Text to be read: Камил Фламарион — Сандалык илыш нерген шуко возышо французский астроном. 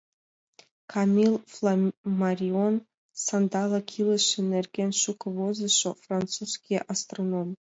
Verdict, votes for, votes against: accepted, 2, 0